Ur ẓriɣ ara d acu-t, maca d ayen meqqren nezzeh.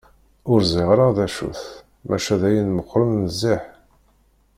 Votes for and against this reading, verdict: 2, 1, accepted